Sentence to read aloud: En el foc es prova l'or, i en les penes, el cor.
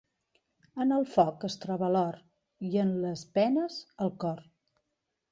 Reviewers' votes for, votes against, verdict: 0, 2, rejected